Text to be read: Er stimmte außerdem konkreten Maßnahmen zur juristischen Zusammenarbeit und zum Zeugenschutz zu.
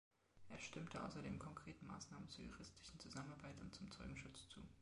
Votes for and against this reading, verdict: 0, 2, rejected